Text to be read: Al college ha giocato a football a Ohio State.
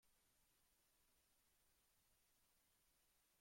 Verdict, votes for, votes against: rejected, 0, 2